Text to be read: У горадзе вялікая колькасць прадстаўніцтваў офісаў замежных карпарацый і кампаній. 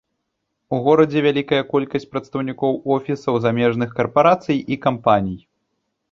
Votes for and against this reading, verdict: 0, 2, rejected